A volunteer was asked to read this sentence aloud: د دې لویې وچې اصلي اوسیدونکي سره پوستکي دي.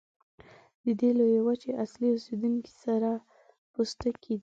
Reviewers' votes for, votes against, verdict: 2, 0, accepted